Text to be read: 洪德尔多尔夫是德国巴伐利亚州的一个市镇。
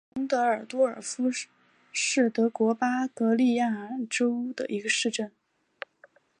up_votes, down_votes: 1, 3